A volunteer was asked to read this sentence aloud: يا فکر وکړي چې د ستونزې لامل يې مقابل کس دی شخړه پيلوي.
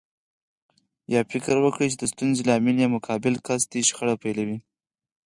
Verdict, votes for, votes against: accepted, 4, 2